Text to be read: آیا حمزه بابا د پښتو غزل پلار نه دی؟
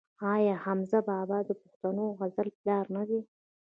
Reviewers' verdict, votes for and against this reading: accepted, 3, 2